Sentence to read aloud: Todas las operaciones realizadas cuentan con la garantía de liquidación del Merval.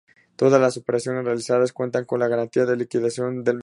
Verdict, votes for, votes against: rejected, 0, 2